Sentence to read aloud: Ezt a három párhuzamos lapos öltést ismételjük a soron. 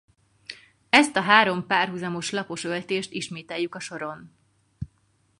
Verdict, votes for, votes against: accepted, 4, 0